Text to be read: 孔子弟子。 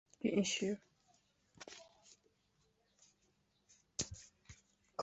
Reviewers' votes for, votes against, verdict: 0, 2, rejected